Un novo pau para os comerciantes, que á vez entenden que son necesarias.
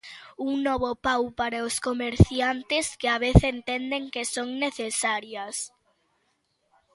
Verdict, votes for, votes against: accepted, 2, 0